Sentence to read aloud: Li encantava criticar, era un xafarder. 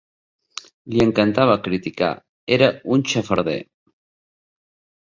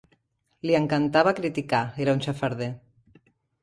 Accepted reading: first